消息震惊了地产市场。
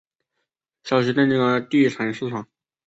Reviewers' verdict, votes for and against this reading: accepted, 3, 0